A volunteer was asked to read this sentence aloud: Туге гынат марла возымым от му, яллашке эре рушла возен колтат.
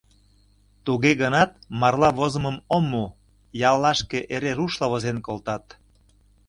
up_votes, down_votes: 0, 2